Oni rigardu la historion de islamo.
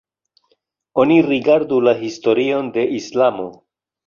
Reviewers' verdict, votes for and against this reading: accepted, 2, 0